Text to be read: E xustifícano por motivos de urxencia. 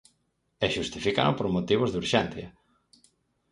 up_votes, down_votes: 4, 0